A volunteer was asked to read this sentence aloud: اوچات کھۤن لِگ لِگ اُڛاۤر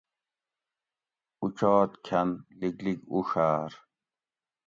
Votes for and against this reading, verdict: 2, 0, accepted